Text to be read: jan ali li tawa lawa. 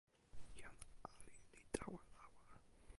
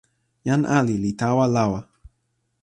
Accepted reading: second